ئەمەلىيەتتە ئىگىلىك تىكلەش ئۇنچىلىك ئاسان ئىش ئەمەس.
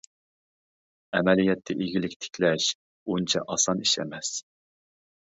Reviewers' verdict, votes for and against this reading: rejected, 0, 2